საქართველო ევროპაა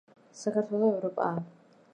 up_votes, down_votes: 3, 0